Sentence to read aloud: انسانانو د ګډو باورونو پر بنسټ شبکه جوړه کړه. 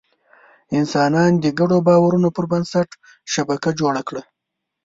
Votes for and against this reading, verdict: 1, 2, rejected